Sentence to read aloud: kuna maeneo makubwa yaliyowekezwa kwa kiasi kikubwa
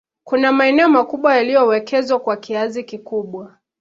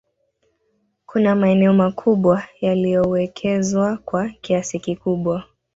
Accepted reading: first